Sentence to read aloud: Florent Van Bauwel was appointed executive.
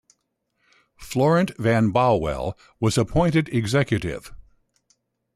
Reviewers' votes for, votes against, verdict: 2, 0, accepted